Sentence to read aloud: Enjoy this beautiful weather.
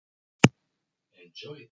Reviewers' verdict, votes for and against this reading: rejected, 0, 2